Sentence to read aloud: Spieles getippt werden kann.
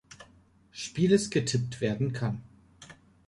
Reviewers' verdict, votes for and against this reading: accepted, 3, 0